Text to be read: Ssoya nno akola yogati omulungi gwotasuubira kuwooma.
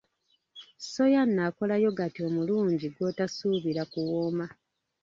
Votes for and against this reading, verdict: 1, 2, rejected